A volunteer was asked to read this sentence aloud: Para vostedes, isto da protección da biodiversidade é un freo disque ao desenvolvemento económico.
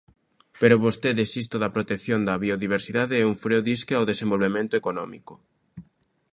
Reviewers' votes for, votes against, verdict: 0, 2, rejected